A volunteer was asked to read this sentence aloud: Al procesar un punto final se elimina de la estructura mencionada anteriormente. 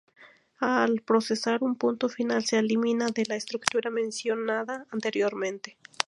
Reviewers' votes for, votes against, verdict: 4, 0, accepted